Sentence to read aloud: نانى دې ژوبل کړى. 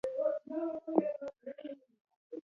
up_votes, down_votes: 1, 2